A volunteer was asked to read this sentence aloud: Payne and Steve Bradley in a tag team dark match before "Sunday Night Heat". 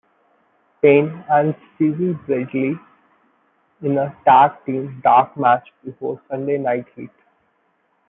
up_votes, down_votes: 1, 2